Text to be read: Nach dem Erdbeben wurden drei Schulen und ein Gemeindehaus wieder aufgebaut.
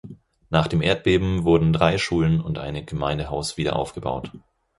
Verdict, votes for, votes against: rejected, 2, 4